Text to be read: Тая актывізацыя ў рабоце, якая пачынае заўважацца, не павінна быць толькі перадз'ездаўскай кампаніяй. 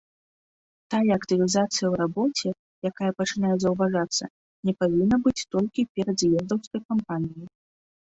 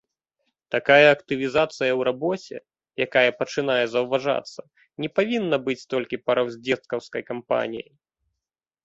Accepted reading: first